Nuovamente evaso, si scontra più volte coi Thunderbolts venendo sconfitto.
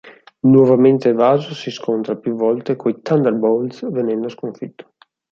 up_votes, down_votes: 4, 0